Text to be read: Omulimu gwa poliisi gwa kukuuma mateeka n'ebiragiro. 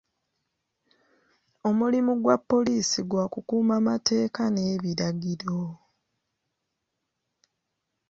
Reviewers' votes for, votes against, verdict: 2, 0, accepted